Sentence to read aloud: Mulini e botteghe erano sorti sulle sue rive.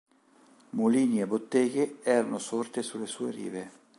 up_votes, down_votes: 2, 1